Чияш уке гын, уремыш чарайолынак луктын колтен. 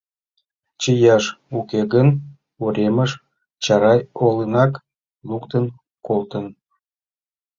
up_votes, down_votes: 0, 2